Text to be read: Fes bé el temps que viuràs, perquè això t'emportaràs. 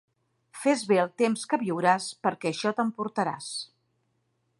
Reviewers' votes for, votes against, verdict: 2, 0, accepted